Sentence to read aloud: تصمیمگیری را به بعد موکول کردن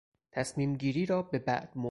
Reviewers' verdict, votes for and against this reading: rejected, 0, 6